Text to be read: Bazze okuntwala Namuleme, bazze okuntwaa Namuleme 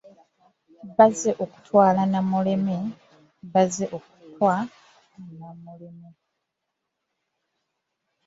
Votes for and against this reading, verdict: 0, 2, rejected